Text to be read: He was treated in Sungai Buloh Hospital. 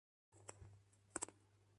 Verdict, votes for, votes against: rejected, 0, 2